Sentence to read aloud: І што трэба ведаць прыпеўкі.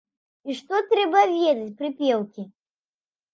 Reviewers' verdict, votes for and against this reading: accepted, 2, 0